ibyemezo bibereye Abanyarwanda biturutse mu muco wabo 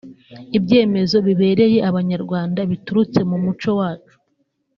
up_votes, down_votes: 1, 2